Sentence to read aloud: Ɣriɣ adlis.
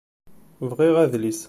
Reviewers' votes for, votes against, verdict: 2, 1, accepted